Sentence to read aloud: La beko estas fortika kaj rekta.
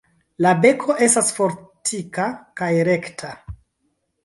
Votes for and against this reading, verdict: 2, 0, accepted